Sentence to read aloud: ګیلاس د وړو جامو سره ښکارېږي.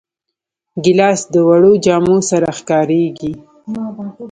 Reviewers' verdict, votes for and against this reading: accepted, 3, 0